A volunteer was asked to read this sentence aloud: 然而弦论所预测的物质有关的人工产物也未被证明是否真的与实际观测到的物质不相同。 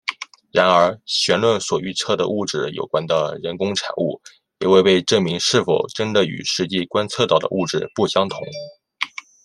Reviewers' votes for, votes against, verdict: 2, 0, accepted